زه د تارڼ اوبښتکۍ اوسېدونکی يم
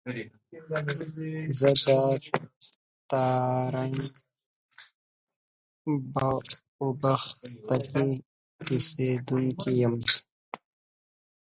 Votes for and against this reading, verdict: 1, 2, rejected